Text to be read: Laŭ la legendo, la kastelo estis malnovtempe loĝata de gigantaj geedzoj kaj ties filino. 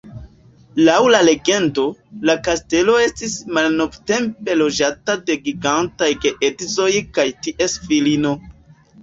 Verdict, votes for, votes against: accepted, 2, 1